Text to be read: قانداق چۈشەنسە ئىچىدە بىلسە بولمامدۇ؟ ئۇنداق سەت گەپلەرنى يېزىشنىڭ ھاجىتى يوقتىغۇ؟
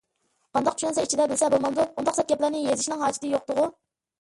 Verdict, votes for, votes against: rejected, 0, 2